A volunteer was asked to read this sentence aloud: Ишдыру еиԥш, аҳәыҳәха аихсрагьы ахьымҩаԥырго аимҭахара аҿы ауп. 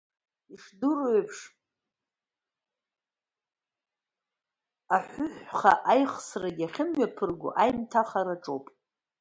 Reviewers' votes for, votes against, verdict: 0, 2, rejected